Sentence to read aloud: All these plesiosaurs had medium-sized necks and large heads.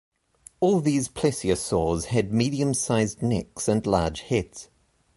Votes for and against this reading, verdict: 2, 0, accepted